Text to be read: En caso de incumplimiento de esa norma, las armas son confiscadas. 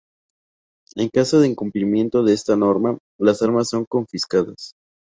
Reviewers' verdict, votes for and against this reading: accepted, 2, 0